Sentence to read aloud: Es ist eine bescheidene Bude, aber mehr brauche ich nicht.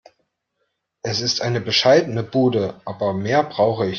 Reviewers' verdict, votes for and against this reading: rejected, 0, 2